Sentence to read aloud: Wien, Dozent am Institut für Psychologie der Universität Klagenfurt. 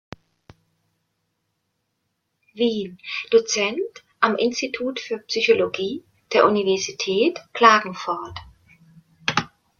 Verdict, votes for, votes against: rejected, 0, 2